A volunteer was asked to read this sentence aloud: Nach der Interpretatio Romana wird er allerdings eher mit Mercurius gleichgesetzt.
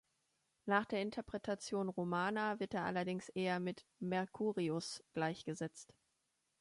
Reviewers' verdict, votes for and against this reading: rejected, 1, 2